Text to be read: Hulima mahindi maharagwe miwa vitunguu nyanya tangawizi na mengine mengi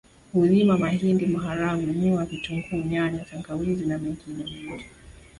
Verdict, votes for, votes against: accepted, 3, 2